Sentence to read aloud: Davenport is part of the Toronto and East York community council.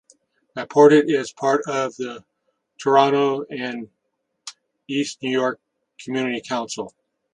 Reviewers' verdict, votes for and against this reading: rejected, 1, 2